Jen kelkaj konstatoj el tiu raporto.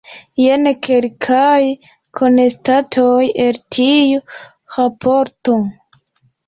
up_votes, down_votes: 1, 2